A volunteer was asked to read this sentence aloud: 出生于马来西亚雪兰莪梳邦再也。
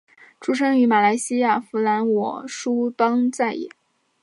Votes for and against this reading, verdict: 2, 3, rejected